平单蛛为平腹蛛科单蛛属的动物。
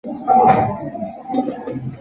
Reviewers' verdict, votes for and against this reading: accepted, 2, 0